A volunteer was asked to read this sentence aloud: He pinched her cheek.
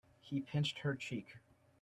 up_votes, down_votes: 2, 0